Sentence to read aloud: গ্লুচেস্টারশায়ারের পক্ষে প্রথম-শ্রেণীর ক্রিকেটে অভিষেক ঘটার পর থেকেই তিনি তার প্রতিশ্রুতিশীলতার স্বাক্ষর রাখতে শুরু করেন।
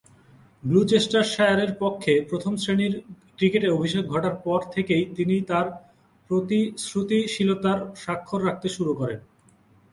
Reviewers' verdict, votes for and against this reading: accepted, 3, 0